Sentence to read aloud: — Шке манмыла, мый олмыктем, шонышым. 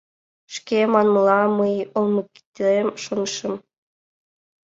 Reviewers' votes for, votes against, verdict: 2, 0, accepted